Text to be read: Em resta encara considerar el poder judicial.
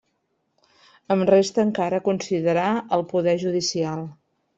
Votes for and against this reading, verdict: 2, 0, accepted